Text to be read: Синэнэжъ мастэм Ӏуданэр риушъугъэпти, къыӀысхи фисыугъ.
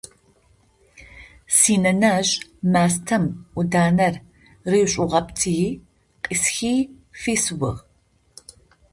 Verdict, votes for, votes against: rejected, 0, 2